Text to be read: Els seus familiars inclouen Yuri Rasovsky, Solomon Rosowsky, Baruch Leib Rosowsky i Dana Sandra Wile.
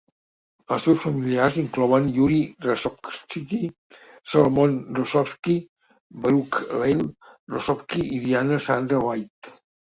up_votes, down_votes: 0, 2